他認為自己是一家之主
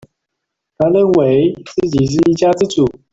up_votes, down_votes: 0, 2